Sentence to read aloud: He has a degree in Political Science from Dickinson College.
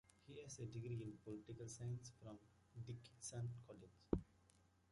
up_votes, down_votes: 0, 2